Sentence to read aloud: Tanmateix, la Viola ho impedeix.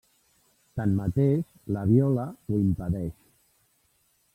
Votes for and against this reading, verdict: 1, 2, rejected